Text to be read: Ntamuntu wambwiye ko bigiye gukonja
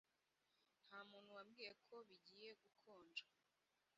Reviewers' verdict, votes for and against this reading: rejected, 1, 2